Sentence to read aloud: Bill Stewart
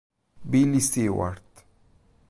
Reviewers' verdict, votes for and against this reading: rejected, 0, 2